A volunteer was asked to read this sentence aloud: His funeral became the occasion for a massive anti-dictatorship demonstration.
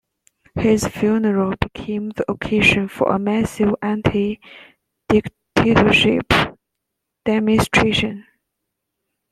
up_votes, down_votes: 2, 1